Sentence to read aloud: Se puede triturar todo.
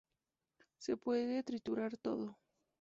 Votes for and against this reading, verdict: 2, 0, accepted